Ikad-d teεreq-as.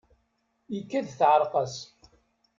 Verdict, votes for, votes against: rejected, 1, 2